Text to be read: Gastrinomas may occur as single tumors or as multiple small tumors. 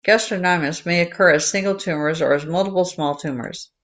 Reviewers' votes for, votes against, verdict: 2, 0, accepted